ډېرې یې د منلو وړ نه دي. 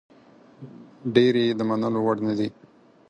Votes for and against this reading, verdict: 4, 0, accepted